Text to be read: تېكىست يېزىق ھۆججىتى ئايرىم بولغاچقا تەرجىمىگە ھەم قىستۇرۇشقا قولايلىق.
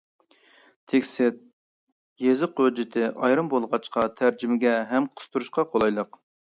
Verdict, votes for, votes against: rejected, 0, 2